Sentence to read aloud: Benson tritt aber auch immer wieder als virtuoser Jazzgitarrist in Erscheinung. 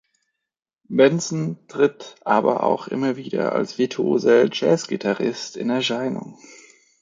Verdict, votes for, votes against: accepted, 2, 0